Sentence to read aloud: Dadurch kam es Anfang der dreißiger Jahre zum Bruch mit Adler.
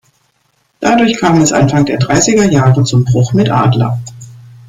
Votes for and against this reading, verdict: 2, 0, accepted